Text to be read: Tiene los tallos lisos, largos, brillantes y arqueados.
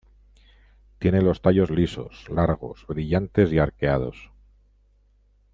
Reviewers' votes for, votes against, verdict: 2, 1, accepted